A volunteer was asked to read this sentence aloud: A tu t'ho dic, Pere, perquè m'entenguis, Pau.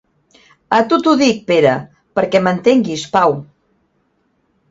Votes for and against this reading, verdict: 2, 0, accepted